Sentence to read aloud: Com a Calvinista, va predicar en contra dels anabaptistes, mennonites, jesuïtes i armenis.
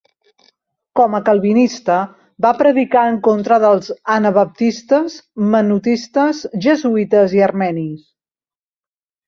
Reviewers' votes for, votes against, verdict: 2, 3, rejected